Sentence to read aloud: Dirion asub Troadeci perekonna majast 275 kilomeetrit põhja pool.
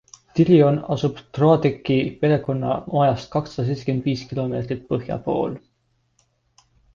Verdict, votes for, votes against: rejected, 0, 2